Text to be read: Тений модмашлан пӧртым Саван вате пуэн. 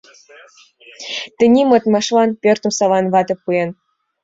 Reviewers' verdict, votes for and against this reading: accepted, 2, 1